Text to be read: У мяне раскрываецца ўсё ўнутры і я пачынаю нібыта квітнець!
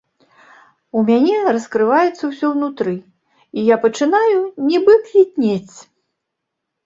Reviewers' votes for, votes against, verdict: 0, 2, rejected